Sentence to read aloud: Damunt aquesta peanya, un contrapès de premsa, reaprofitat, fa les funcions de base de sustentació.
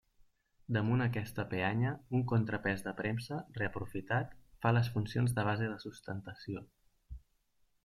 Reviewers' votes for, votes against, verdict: 2, 0, accepted